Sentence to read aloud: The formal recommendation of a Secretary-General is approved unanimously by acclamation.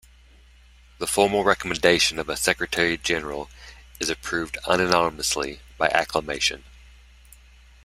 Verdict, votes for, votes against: accepted, 2, 0